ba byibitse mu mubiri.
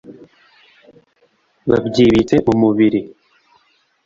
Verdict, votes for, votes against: rejected, 0, 2